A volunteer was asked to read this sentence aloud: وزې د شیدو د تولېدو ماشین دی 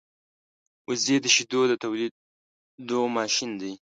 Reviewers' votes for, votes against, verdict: 2, 0, accepted